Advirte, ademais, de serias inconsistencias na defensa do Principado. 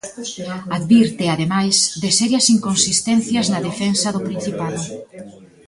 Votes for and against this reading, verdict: 1, 2, rejected